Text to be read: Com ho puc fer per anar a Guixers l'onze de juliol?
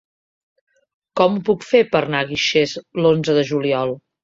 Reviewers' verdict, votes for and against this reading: rejected, 0, 2